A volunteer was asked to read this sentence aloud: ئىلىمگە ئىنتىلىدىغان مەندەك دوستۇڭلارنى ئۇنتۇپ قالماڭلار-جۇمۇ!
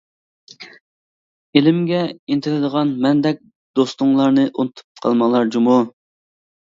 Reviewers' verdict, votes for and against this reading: accepted, 2, 0